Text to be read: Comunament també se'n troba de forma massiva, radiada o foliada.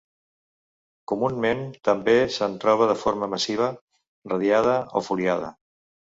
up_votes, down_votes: 1, 2